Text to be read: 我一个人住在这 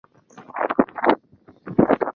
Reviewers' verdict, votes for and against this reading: rejected, 2, 3